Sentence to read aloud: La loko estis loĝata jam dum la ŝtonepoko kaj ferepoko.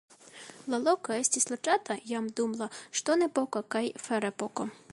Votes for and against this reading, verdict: 2, 0, accepted